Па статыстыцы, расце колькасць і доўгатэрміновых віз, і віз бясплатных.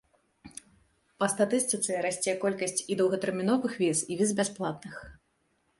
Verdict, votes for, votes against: accepted, 2, 0